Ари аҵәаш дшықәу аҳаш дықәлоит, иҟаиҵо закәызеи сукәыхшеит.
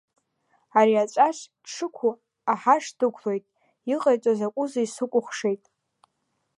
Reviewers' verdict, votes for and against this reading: rejected, 0, 2